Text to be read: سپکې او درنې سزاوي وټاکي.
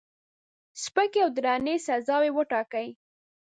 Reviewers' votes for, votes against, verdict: 0, 2, rejected